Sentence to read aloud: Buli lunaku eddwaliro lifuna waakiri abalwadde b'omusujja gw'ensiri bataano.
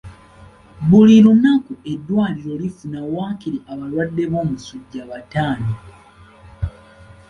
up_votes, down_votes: 2, 1